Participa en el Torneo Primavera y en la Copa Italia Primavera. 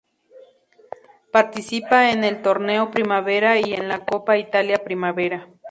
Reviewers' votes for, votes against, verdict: 2, 0, accepted